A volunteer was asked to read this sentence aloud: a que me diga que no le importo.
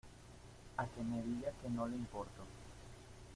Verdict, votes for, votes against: accepted, 2, 0